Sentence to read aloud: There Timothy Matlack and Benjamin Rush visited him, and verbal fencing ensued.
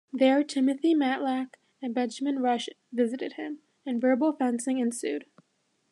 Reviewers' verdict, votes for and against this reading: accepted, 2, 0